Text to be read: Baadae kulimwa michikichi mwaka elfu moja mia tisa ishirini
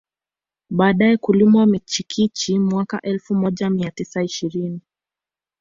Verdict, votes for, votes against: accepted, 2, 0